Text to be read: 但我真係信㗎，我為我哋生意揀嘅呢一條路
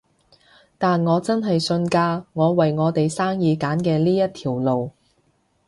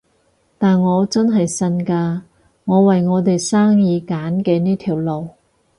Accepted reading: first